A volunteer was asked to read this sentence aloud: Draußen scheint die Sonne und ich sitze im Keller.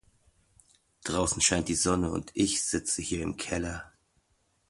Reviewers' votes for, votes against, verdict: 0, 2, rejected